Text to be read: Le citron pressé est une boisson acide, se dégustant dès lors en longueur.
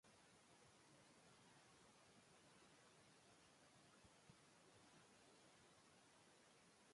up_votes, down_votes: 0, 2